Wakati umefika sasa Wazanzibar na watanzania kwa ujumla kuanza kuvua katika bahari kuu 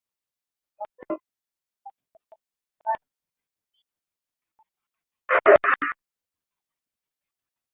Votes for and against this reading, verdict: 0, 2, rejected